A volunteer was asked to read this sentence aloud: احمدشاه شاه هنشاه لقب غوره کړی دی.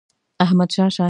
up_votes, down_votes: 0, 2